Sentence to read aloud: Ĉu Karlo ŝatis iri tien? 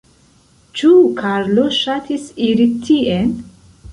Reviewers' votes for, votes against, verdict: 0, 2, rejected